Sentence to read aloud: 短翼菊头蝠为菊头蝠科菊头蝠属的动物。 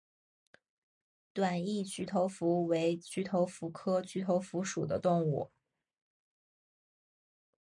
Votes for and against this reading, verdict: 2, 0, accepted